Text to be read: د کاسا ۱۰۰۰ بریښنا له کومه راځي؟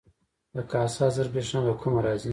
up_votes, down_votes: 0, 2